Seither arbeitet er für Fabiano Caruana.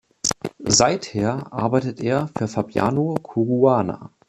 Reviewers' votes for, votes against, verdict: 0, 2, rejected